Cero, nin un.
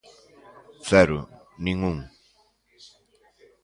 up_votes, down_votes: 2, 0